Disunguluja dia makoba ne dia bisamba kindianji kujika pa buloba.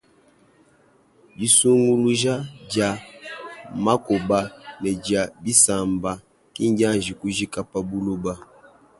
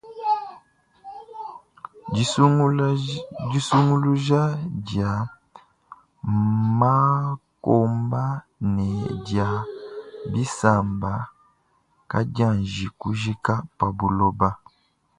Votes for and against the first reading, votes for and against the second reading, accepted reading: 2, 0, 0, 3, first